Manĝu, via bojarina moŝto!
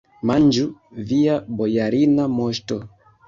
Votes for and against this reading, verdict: 2, 1, accepted